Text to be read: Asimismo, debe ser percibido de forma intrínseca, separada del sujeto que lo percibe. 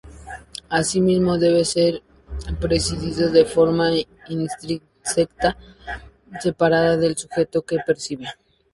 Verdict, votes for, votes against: rejected, 0, 2